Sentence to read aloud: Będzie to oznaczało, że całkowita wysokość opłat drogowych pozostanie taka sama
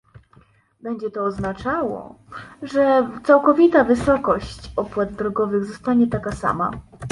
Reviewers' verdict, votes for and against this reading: rejected, 1, 2